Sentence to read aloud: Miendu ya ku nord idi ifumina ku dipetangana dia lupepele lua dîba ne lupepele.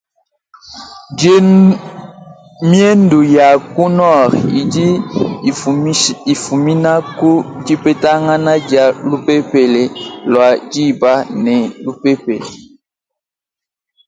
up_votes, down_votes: 0, 2